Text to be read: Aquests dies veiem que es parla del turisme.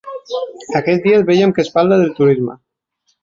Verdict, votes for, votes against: accepted, 2, 1